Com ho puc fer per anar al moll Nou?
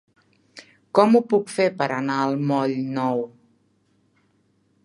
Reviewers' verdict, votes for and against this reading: accepted, 3, 0